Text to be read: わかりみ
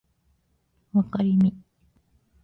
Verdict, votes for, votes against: accepted, 2, 0